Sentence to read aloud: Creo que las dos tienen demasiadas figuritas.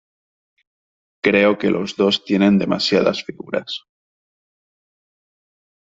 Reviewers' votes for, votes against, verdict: 0, 2, rejected